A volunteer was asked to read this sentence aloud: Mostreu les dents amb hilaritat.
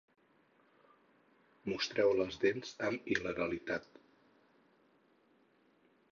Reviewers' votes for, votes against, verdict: 0, 4, rejected